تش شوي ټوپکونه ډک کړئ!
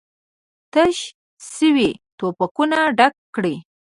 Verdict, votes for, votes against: rejected, 1, 2